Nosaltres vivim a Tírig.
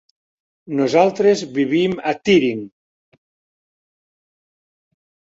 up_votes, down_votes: 1, 2